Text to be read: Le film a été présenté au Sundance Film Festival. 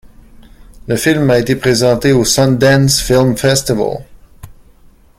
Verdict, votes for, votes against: accepted, 2, 0